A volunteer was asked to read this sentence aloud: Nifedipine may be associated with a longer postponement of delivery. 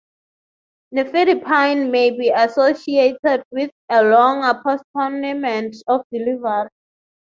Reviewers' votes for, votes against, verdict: 0, 6, rejected